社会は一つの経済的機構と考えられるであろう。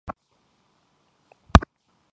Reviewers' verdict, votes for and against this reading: rejected, 0, 2